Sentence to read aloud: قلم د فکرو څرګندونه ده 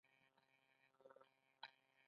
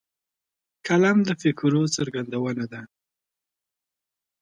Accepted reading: second